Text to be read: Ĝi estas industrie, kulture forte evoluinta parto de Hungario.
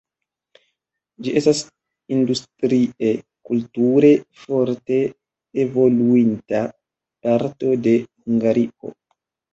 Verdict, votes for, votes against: rejected, 1, 2